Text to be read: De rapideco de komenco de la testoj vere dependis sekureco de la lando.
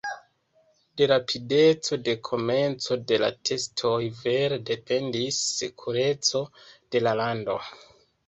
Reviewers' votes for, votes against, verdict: 1, 3, rejected